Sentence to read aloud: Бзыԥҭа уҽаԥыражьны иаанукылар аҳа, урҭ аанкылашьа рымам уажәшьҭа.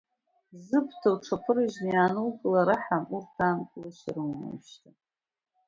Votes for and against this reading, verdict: 1, 2, rejected